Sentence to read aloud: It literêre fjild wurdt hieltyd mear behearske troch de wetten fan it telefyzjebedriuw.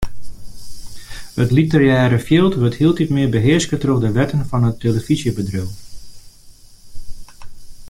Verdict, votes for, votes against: accepted, 2, 1